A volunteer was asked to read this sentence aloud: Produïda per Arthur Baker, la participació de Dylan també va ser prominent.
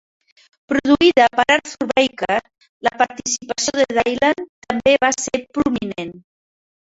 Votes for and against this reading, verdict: 0, 2, rejected